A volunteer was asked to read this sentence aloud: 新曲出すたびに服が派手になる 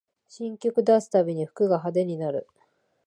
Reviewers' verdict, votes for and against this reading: accepted, 2, 0